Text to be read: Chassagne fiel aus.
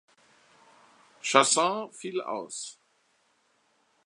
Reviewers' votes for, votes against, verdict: 1, 2, rejected